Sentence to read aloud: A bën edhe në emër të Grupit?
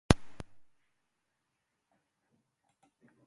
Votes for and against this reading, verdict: 0, 2, rejected